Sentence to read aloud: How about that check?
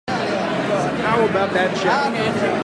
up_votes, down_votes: 0, 2